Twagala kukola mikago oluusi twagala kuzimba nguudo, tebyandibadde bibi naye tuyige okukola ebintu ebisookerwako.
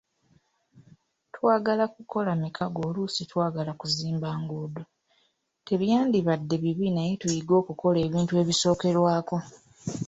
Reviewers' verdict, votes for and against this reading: rejected, 2, 3